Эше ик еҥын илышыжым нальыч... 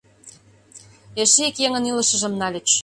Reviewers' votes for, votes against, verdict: 2, 0, accepted